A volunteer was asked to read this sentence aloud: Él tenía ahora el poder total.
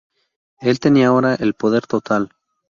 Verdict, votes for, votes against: accepted, 2, 0